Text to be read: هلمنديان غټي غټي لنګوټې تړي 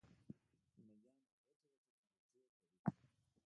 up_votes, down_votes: 1, 2